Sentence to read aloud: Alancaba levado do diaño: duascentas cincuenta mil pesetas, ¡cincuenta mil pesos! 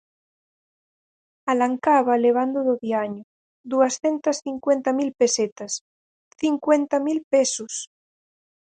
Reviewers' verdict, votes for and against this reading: rejected, 0, 4